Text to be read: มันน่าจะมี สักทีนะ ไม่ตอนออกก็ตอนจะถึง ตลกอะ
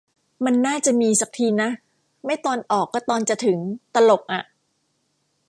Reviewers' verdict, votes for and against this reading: accepted, 2, 0